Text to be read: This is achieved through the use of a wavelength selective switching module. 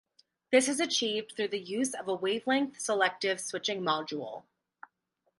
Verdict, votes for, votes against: accepted, 6, 0